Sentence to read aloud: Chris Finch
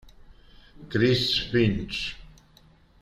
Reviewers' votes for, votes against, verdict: 1, 2, rejected